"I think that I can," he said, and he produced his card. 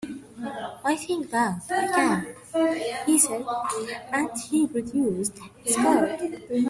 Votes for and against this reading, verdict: 1, 2, rejected